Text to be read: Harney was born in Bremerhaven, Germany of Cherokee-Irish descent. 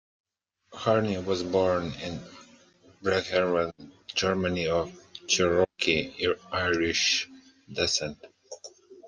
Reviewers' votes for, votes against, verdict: 0, 2, rejected